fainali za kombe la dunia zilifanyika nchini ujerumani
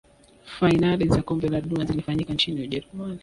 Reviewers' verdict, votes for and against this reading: rejected, 0, 2